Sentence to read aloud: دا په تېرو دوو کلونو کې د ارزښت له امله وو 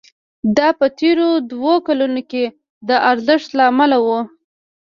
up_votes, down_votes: 0, 2